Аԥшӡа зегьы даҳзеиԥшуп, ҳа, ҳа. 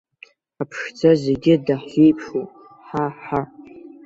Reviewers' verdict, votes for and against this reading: accepted, 2, 0